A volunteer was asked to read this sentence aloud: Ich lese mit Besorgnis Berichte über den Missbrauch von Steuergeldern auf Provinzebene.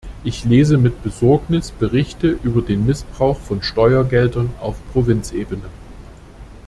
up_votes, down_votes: 2, 0